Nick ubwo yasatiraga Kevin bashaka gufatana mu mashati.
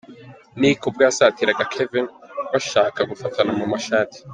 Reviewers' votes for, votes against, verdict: 2, 0, accepted